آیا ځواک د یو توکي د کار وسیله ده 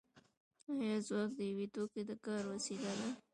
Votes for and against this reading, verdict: 0, 2, rejected